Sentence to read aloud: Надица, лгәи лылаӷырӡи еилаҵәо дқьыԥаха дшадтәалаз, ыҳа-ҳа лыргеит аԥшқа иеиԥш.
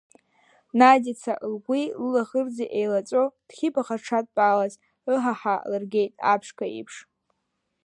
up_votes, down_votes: 0, 2